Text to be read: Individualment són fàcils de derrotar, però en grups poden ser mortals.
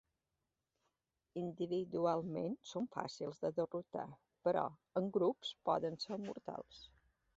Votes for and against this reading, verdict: 2, 1, accepted